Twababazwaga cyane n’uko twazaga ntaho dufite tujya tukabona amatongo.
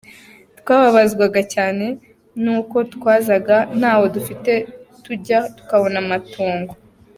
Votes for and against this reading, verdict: 2, 0, accepted